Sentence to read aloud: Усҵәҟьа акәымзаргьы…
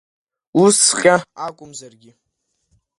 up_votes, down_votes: 2, 0